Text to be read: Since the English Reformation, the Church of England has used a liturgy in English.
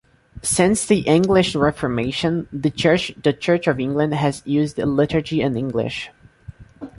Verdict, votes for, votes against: rejected, 1, 2